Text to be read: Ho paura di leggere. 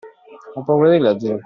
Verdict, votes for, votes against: accepted, 2, 1